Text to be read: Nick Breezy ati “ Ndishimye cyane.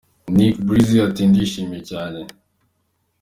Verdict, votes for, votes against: accepted, 2, 0